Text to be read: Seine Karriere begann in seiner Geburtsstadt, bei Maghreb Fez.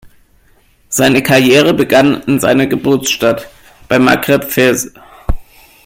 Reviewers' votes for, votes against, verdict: 2, 0, accepted